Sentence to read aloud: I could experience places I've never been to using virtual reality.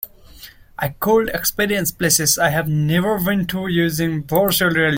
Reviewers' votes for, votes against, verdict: 0, 2, rejected